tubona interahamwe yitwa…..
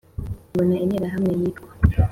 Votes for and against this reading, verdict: 3, 0, accepted